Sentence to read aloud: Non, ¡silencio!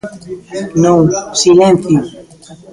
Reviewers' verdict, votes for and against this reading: rejected, 0, 2